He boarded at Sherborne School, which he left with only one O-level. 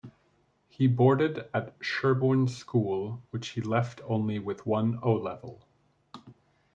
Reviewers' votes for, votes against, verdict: 0, 2, rejected